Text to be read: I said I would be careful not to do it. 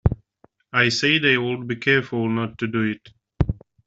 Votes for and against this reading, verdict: 2, 0, accepted